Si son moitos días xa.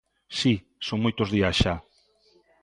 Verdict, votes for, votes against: accepted, 2, 0